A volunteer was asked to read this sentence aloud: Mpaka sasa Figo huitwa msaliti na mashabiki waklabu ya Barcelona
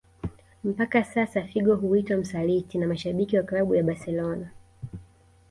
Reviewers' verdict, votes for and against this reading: accepted, 2, 0